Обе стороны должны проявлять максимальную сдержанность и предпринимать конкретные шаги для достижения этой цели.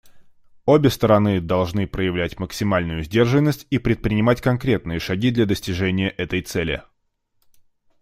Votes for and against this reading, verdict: 2, 0, accepted